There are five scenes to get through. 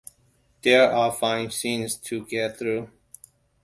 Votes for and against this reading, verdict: 2, 0, accepted